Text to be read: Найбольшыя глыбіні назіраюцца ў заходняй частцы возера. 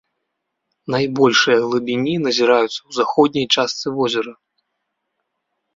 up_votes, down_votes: 1, 2